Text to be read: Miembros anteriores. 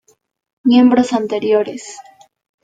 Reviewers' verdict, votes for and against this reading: accepted, 2, 0